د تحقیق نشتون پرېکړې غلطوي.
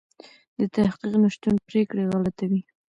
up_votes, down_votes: 2, 0